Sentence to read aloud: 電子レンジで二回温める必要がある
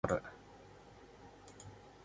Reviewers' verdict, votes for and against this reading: rejected, 1, 2